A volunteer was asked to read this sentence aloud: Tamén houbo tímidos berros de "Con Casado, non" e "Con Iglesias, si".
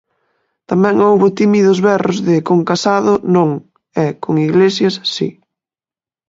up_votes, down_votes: 2, 0